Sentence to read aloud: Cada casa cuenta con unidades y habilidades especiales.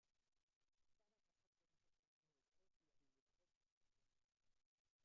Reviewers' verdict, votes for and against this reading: rejected, 0, 2